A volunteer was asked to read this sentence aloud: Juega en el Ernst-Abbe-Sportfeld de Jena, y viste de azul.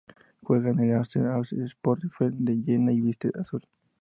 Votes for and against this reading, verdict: 0, 2, rejected